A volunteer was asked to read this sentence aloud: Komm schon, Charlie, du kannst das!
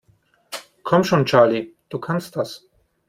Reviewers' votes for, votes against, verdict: 2, 0, accepted